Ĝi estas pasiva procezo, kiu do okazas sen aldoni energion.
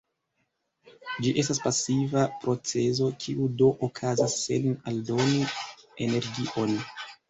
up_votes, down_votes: 2, 1